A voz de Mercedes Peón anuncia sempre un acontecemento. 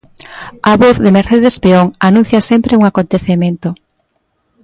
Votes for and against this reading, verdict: 2, 0, accepted